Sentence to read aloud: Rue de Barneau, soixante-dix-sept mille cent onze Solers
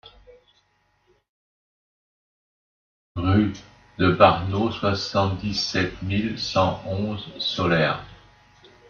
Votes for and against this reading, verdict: 2, 1, accepted